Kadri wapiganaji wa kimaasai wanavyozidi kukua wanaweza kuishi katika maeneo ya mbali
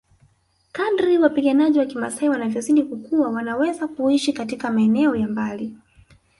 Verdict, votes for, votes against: accepted, 2, 0